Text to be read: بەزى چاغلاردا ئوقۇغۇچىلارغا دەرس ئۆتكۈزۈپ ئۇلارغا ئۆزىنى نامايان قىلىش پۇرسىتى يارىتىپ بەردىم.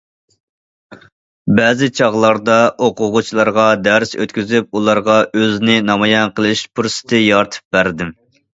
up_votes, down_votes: 2, 0